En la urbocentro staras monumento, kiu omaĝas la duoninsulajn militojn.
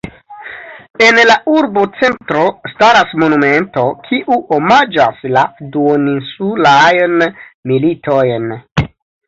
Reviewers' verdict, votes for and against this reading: accepted, 2, 1